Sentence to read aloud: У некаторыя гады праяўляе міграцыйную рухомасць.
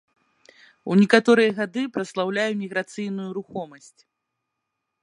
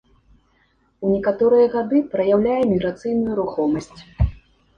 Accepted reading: second